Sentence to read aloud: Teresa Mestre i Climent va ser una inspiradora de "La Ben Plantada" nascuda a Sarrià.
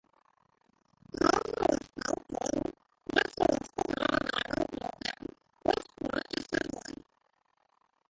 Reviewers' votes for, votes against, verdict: 0, 2, rejected